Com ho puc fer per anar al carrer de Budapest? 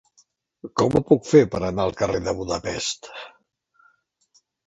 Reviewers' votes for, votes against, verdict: 2, 0, accepted